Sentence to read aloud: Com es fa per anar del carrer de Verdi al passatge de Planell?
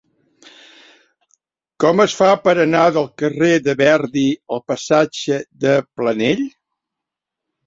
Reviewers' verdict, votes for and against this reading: accepted, 3, 0